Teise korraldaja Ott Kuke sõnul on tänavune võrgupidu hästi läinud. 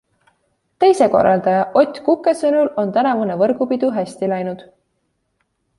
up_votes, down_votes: 2, 0